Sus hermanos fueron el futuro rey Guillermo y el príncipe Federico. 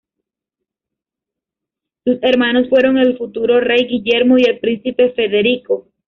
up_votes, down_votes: 1, 2